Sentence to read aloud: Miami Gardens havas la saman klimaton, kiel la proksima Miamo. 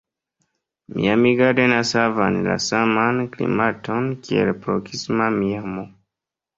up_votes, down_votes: 2, 0